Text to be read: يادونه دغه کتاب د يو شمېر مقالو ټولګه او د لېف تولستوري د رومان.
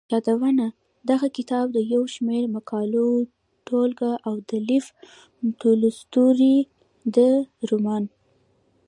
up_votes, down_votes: 2, 0